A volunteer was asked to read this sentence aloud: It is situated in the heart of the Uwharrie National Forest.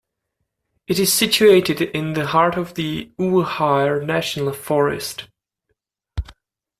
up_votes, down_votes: 1, 2